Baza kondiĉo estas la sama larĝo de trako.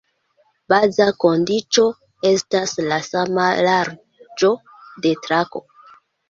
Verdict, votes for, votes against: accepted, 2, 1